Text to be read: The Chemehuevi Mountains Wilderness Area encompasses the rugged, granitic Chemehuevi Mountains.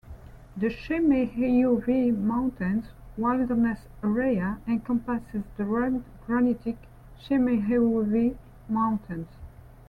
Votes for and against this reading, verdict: 2, 1, accepted